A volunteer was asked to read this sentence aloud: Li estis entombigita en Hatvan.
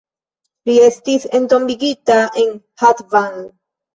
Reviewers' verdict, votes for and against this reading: accepted, 2, 0